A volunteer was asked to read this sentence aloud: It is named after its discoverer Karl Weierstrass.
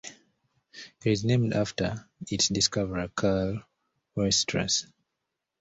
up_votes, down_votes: 0, 2